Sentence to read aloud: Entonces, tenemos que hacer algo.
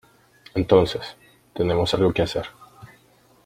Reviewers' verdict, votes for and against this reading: rejected, 0, 2